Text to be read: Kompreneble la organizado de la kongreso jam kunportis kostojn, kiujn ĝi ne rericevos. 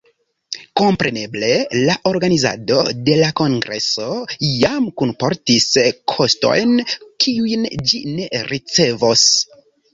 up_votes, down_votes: 0, 2